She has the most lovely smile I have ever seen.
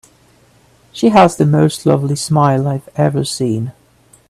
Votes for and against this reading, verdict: 2, 0, accepted